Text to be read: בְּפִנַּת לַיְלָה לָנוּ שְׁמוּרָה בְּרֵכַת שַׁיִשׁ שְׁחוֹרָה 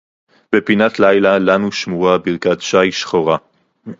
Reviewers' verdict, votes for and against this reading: rejected, 0, 2